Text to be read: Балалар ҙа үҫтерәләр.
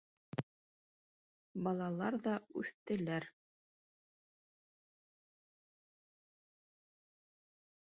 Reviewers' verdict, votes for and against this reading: rejected, 0, 2